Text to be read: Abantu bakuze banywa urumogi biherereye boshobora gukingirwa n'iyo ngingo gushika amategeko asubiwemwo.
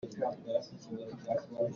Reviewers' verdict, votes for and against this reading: rejected, 0, 2